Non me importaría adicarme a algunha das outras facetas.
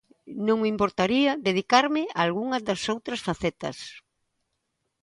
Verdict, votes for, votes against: rejected, 0, 2